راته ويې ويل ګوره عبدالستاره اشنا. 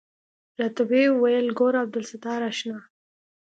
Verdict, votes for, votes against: accepted, 2, 0